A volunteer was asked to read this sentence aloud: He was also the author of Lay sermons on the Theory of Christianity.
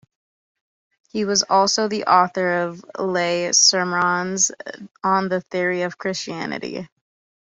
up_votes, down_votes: 2, 1